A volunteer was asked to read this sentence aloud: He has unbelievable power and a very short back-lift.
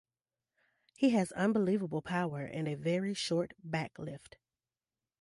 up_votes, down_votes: 2, 0